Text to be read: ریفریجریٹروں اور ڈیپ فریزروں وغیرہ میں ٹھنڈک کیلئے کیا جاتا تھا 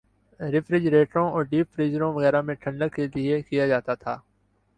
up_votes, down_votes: 2, 1